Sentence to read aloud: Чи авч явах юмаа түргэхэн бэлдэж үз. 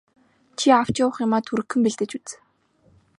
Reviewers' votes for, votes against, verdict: 2, 0, accepted